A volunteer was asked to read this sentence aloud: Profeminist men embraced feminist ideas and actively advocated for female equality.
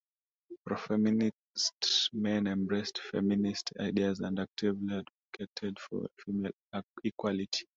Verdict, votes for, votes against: rejected, 0, 2